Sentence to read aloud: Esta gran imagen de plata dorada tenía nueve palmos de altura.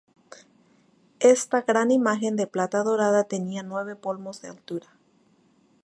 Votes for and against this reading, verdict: 0, 2, rejected